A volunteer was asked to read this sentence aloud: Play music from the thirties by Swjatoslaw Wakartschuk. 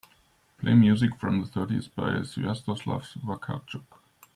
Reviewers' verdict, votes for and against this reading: accepted, 2, 0